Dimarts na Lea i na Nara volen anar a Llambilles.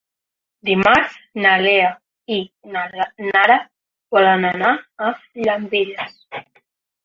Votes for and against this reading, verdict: 0, 2, rejected